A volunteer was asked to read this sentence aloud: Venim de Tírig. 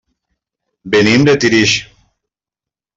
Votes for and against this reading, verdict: 1, 2, rejected